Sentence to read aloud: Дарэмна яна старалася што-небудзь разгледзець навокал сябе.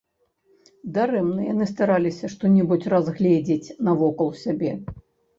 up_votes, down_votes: 1, 2